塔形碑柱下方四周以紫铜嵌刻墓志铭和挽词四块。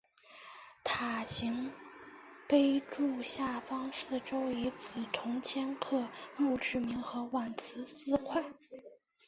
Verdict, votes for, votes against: accepted, 2, 1